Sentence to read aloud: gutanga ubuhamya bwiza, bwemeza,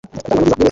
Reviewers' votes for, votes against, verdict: 0, 2, rejected